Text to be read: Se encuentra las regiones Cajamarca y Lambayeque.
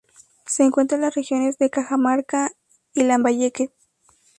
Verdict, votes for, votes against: rejected, 0, 2